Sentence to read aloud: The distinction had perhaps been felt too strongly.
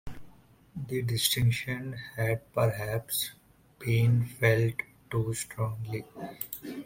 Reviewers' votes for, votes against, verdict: 2, 1, accepted